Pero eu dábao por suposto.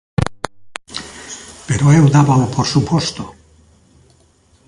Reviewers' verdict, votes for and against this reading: accepted, 2, 0